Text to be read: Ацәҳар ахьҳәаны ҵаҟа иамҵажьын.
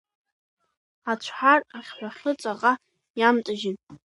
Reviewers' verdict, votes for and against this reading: accepted, 2, 0